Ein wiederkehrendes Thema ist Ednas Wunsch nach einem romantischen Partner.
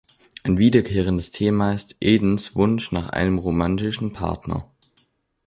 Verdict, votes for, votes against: rejected, 0, 2